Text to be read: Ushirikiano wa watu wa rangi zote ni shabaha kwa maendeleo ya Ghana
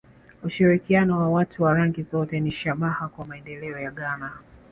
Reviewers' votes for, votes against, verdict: 2, 1, accepted